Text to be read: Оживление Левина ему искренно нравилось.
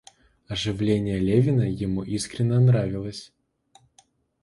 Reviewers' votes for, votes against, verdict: 2, 0, accepted